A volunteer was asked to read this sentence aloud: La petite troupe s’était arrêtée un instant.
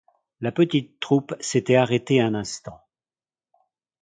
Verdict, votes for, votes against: accepted, 2, 0